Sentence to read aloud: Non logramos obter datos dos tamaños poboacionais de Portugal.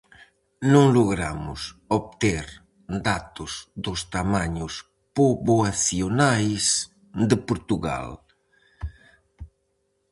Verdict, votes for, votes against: accepted, 4, 0